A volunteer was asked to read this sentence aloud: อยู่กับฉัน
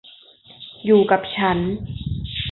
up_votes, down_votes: 0, 2